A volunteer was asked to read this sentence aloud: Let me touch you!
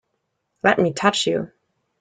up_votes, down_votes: 2, 0